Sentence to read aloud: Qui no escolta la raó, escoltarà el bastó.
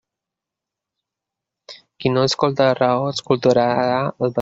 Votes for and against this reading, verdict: 0, 2, rejected